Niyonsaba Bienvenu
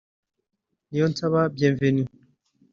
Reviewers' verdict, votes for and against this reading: rejected, 0, 2